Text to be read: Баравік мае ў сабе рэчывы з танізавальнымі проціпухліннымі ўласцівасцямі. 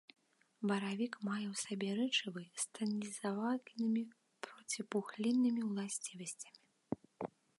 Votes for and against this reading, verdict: 1, 2, rejected